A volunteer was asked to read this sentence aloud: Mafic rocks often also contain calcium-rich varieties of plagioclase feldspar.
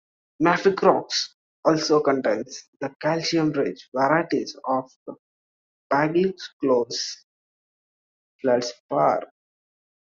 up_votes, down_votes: 0, 2